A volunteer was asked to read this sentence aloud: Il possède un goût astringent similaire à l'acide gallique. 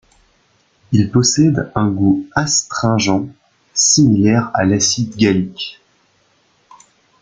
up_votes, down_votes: 2, 0